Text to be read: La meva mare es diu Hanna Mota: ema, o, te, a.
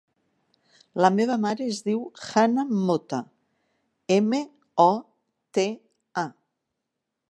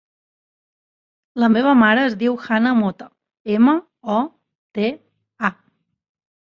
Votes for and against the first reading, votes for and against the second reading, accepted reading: 0, 2, 2, 0, second